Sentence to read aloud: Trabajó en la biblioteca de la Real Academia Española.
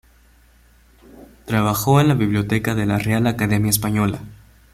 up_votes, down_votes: 2, 0